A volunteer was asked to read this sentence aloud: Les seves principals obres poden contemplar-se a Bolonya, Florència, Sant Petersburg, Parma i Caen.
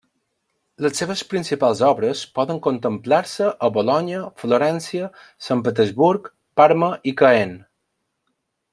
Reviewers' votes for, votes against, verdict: 0, 2, rejected